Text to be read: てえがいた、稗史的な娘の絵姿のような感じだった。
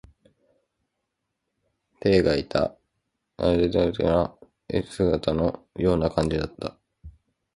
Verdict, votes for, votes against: rejected, 0, 2